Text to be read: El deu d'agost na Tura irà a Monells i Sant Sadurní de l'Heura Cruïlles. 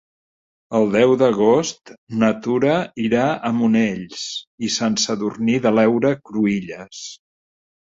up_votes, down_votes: 2, 1